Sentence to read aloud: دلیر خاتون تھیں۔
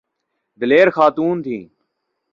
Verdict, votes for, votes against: accepted, 2, 0